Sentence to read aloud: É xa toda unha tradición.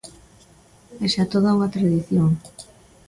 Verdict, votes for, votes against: accepted, 2, 0